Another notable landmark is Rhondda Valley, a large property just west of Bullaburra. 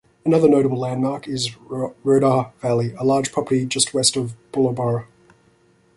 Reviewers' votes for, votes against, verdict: 1, 2, rejected